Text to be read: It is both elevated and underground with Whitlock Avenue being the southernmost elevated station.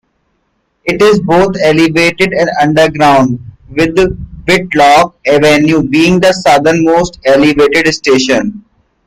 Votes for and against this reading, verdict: 2, 1, accepted